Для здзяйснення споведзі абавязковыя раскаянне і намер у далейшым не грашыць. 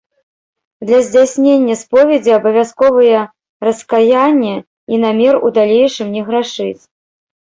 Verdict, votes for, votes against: rejected, 1, 2